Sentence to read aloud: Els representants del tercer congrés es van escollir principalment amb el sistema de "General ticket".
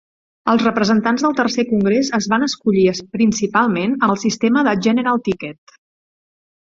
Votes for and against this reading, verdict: 1, 2, rejected